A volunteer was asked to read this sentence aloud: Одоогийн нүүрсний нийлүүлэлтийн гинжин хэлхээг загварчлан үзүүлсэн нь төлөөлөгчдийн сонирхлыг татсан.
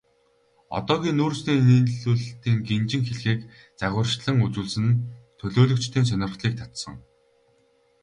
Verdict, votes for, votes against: accepted, 2, 0